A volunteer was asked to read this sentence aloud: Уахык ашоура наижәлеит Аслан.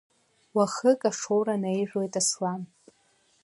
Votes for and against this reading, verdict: 0, 2, rejected